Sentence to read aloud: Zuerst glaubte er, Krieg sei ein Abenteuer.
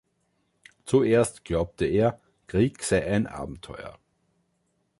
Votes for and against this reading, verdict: 2, 0, accepted